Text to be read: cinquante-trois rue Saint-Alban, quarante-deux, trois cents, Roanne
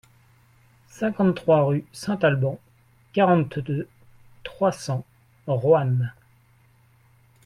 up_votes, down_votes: 2, 0